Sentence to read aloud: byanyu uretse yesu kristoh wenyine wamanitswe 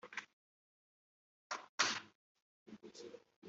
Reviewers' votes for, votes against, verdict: 0, 3, rejected